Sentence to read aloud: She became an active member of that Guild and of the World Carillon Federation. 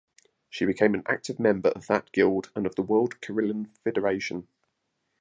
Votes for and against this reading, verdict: 1, 2, rejected